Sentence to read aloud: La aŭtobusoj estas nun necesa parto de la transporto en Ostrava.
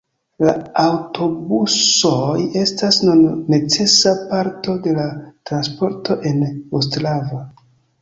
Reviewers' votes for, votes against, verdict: 0, 2, rejected